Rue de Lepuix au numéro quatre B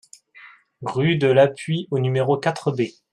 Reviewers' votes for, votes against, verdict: 0, 2, rejected